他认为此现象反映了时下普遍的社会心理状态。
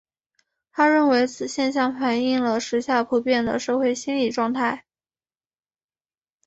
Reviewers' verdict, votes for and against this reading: accepted, 2, 1